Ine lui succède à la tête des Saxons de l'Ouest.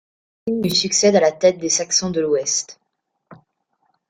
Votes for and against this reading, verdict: 1, 2, rejected